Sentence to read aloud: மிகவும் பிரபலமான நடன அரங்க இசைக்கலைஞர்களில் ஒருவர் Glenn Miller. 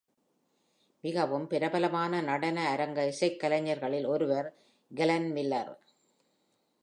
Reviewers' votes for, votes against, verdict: 2, 0, accepted